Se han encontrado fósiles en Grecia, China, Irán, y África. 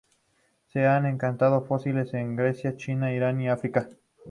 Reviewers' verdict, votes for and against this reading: rejected, 0, 2